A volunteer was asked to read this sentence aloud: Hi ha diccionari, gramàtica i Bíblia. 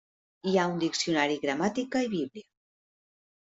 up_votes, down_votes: 0, 2